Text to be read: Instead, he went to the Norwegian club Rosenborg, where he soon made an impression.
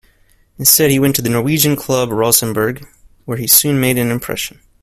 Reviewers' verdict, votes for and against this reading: accepted, 2, 0